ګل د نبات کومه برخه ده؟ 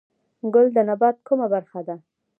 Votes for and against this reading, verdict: 1, 2, rejected